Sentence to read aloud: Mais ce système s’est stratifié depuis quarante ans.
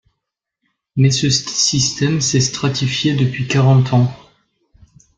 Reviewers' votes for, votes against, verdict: 1, 2, rejected